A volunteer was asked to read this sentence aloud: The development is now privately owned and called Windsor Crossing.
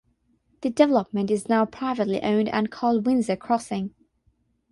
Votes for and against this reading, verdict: 6, 0, accepted